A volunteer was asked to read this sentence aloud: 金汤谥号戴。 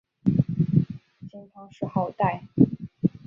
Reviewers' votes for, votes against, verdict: 5, 0, accepted